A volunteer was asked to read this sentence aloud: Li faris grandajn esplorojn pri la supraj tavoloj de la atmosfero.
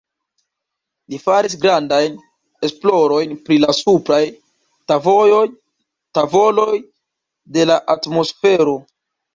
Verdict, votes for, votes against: accepted, 2, 1